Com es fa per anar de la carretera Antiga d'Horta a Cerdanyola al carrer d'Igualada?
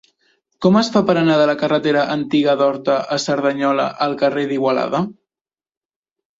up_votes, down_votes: 3, 0